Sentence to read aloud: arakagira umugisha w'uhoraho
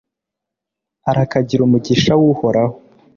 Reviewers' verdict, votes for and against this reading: accepted, 2, 0